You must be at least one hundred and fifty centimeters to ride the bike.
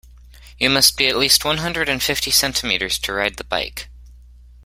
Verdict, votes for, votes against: accepted, 2, 0